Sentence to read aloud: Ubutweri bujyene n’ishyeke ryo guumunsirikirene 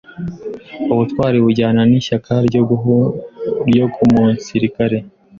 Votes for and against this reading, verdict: 0, 2, rejected